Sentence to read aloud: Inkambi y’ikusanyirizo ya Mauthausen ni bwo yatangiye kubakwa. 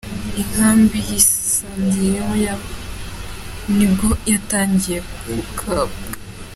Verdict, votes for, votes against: rejected, 0, 2